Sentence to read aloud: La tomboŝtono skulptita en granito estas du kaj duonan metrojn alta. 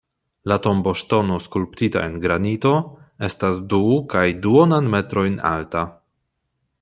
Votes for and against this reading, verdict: 2, 0, accepted